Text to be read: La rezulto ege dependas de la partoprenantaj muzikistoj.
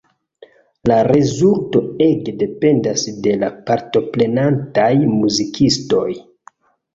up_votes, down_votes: 3, 0